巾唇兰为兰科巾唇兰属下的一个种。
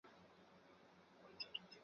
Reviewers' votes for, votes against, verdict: 1, 2, rejected